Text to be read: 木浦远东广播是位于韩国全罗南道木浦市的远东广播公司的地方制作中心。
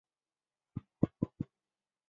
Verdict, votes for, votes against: rejected, 1, 2